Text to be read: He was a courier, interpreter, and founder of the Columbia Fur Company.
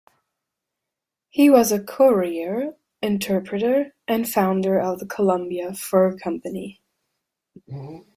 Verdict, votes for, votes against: accepted, 2, 0